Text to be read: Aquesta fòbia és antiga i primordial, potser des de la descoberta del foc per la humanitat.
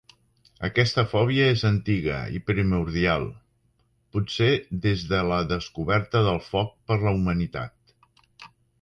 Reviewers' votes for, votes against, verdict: 3, 0, accepted